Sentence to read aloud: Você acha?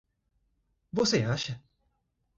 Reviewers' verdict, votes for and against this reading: rejected, 1, 2